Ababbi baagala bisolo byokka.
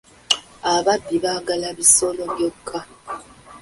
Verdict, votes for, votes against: accepted, 2, 0